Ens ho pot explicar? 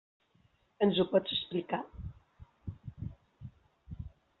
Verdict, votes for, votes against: rejected, 0, 2